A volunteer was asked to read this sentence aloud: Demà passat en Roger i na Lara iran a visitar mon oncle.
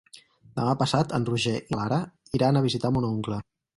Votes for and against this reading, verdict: 2, 4, rejected